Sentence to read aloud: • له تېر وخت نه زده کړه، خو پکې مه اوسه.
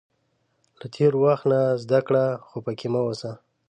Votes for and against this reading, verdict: 2, 1, accepted